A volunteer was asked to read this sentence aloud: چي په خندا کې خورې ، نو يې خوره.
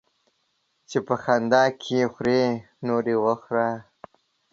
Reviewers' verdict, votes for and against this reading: rejected, 1, 2